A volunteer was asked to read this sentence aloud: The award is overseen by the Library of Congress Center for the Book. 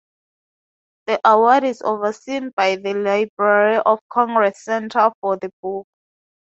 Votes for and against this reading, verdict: 4, 0, accepted